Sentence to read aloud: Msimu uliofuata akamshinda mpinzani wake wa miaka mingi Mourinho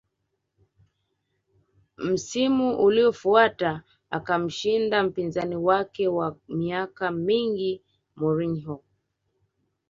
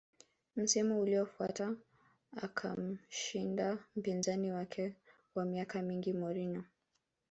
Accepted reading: second